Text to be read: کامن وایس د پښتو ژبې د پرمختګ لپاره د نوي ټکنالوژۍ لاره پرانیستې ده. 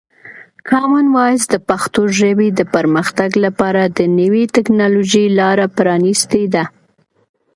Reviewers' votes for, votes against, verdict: 2, 0, accepted